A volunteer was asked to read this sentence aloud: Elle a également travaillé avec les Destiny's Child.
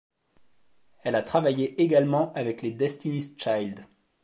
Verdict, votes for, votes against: rejected, 0, 2